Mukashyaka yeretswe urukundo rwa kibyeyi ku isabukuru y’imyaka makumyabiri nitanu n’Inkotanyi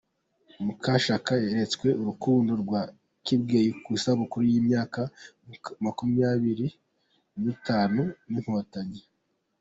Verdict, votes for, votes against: accepted, 2, 0